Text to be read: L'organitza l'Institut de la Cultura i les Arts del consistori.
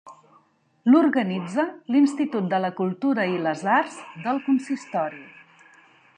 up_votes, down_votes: 3, 1